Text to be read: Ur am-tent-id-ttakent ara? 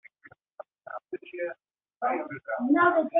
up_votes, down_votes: 0, 2